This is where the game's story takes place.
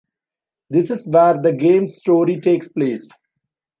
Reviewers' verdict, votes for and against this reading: accepted, 2, 0